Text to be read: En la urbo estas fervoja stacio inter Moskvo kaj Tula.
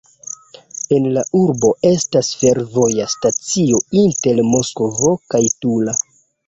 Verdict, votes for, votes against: accepted, 2, 0